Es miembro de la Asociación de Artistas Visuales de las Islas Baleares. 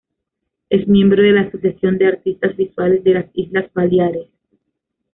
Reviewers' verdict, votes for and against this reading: accepted, 2, 0